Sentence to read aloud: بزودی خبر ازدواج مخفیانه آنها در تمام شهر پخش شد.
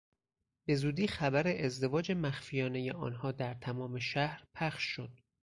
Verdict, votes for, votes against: accepted, 4, 0